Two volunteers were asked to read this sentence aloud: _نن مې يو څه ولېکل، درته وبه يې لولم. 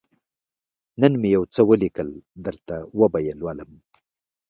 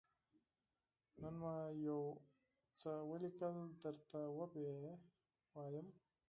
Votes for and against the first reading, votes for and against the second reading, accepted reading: 2, 1, 2, 4, first